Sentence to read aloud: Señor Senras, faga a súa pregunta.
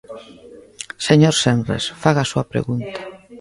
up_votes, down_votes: 1, 2